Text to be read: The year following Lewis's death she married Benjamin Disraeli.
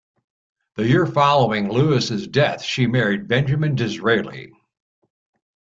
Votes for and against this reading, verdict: 2, 0, accepted